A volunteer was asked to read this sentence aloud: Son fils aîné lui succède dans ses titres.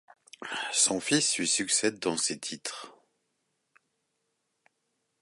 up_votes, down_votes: 1, 2